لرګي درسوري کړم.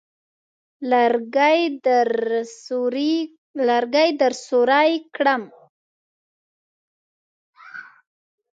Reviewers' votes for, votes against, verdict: 0, 2, rejected